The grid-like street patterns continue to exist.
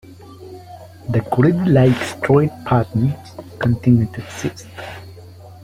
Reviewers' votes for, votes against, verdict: 2, 0, accepted